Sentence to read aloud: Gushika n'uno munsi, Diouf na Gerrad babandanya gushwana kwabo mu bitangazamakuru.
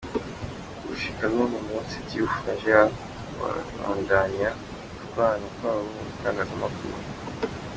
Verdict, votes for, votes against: rejected, 1, 2